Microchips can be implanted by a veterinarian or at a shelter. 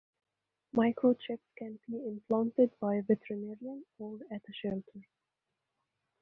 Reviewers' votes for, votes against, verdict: 2, 0, accepted